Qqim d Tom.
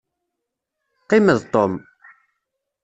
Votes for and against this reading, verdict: 2, 0, accepted